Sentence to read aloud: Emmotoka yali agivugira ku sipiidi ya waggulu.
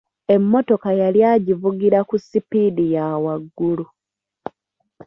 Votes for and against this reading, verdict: 2, 1, accepted